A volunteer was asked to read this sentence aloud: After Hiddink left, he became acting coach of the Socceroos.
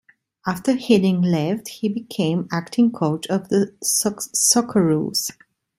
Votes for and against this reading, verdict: 0, 2, rejected